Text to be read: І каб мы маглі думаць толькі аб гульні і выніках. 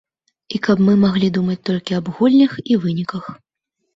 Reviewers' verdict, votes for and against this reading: rejected, 1, 2